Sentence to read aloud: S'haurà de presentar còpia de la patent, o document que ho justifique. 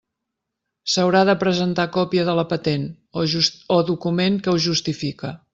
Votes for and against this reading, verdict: 0, 2, rejected